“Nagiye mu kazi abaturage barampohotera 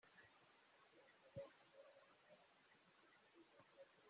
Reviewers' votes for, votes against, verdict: 0, 2, rejected